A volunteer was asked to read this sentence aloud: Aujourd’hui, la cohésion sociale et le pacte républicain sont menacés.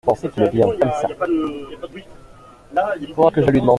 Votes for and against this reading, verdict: 0, 2, rejected